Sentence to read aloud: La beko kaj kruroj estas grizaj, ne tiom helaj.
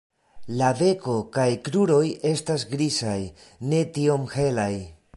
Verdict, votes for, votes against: rejected, 0, 2